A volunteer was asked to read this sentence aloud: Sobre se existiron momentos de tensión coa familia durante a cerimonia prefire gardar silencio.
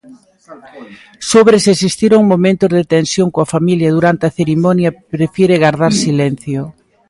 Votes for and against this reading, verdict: 0, 2, rejected